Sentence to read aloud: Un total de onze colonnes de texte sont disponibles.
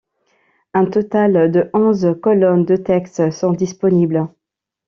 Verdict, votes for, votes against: accepted, 2, 0